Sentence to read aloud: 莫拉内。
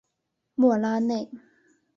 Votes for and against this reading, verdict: 3, 0, accepted